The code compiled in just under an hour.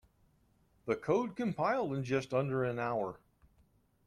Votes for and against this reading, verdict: 2, 0, accepted